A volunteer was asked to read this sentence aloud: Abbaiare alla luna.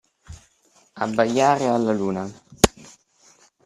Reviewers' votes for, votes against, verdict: 2, 0, accepted